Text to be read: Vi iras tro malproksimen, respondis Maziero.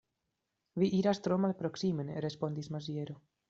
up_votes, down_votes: 2, 0